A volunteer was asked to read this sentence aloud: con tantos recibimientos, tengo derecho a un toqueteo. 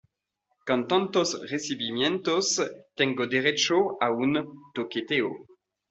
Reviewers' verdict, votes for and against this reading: accepted, 2, 0